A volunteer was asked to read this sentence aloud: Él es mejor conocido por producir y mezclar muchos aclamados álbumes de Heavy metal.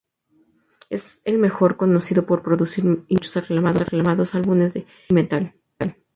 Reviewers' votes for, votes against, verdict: 2, 4, rejected